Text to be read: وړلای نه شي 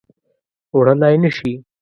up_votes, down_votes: 2, 0